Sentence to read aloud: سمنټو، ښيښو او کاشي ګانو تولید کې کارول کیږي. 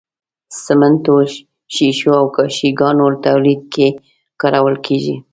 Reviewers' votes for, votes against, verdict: 3, 0, accepted